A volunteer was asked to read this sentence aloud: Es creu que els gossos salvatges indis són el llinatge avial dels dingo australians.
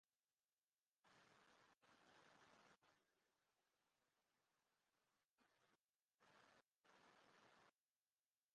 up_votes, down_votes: 0, 2